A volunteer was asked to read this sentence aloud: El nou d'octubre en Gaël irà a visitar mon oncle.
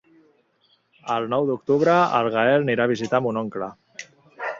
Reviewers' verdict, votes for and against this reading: rejected, 1, 2